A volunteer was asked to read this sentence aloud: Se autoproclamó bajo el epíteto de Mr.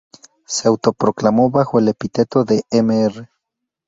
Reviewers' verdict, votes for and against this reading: rejected, 0, 2